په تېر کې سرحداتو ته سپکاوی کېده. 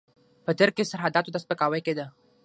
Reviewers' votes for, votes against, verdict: 3, 6, rejected